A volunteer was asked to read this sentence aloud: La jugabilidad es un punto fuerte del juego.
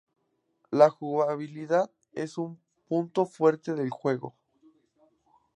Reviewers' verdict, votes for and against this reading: accepted, 2, 0